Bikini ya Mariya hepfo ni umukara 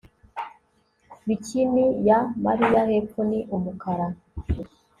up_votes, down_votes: 2, 0